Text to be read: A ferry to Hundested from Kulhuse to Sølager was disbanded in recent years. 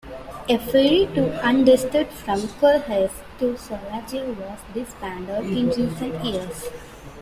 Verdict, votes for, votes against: accepted, 2, 1